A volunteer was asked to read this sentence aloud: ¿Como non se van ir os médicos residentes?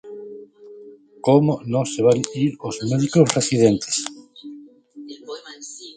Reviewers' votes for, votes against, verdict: 0, 2, rejected